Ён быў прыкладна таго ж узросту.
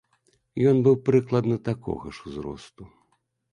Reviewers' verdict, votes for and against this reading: rejected, 0, 2